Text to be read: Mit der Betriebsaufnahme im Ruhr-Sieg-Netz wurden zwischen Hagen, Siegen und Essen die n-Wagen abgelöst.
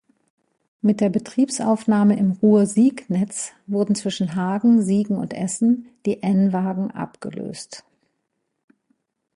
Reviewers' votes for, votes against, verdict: 2, 0, accepted